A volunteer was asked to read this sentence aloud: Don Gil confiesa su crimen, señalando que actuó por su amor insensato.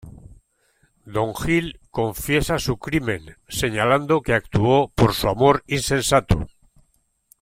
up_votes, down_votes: 2, 0